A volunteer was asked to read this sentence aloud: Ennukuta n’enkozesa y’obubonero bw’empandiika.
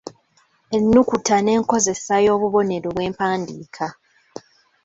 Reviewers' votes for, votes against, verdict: 2, 1, accepted